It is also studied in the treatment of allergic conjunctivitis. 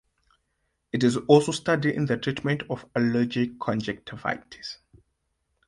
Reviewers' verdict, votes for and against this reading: accepted, 2, 1